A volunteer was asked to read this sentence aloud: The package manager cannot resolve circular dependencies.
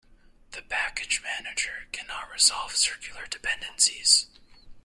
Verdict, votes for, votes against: accepted, 2, 0